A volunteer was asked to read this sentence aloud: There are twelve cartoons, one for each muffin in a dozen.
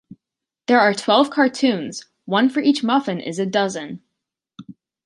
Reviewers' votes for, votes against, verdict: 1, 2, rejected